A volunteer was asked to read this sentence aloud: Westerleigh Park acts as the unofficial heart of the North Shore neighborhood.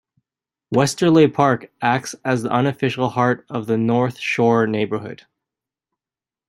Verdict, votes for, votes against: accepted, 2, 0